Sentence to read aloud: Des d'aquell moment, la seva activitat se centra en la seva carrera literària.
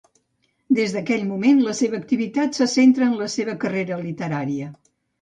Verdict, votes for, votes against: rejected, 0, 2